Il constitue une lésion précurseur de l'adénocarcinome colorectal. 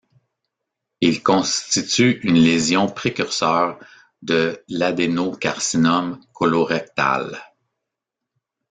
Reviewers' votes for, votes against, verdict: 2, 1, accepted